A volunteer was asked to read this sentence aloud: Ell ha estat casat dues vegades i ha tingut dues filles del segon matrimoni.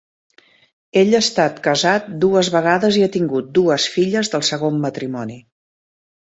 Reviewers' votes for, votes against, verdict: 2, 0, accepted